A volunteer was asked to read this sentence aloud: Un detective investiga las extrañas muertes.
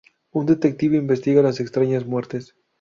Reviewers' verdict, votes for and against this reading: rejected, 0, 2